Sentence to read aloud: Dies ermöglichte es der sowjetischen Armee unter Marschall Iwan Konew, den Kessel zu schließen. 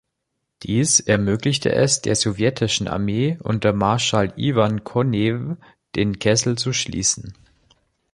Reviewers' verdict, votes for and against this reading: accepted, 2, 0